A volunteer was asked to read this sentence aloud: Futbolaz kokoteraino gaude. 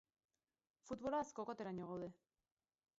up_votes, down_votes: 0, 4